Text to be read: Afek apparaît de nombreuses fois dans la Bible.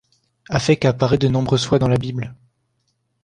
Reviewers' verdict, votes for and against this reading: accepted, 2, 0